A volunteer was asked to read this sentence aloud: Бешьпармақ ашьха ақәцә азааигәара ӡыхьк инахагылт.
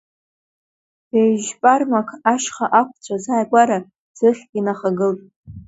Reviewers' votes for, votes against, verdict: 1, 2, rejected